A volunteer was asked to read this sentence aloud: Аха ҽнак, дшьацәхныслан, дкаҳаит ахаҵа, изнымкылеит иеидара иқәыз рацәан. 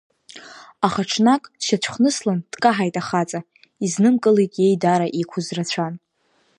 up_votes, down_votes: 1, 2